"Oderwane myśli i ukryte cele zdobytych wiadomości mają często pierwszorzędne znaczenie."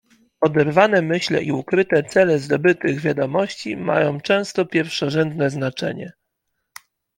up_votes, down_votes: 1, 2